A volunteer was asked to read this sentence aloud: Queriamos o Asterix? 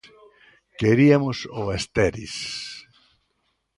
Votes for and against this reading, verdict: 0, 2, rejected